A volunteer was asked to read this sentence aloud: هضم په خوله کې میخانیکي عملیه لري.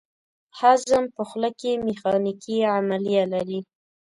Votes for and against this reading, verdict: 2, 0, accepted